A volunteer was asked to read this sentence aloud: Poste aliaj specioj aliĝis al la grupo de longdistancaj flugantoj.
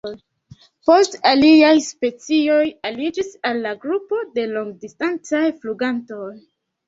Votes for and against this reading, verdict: 2, 0, accepted